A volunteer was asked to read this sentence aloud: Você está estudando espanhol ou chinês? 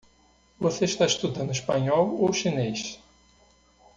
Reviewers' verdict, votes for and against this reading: accepted, 2, 0